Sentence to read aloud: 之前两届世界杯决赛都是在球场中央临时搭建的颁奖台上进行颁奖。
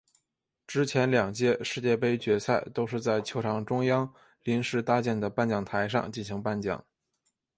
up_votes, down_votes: 2, 0